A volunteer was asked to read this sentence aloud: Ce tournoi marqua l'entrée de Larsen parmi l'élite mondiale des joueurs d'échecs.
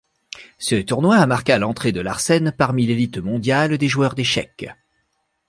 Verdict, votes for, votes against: accepted, 2, 0